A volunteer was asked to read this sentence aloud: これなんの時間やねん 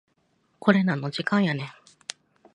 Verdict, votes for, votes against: accepted, 2, 1